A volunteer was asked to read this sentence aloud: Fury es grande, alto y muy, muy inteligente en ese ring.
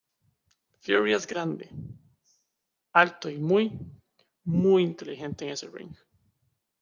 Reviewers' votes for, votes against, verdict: 1, 2, rejected